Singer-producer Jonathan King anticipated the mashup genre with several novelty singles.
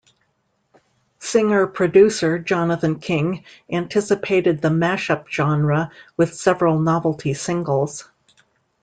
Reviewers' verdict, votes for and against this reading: accepted, 2, 0